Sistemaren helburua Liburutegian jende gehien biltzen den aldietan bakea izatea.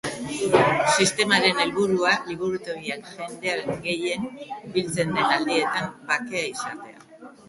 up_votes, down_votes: 1, 2